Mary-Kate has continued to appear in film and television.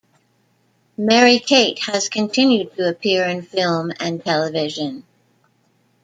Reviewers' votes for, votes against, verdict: 1, 2, rejected